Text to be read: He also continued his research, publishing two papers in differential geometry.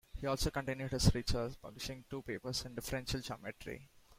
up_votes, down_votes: 2, 0